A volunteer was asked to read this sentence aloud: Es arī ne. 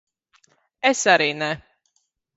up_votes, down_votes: 1, 2